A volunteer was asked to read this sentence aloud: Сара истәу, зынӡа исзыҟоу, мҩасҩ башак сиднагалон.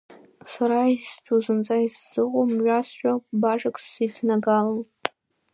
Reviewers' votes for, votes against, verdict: 0, 2, rejected